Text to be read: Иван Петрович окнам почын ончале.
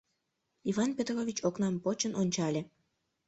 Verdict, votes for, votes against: accepted, 2, 0